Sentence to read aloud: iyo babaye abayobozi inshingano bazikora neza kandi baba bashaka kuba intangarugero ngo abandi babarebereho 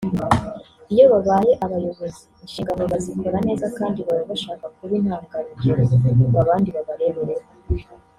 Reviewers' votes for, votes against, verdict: 0, 2, rejected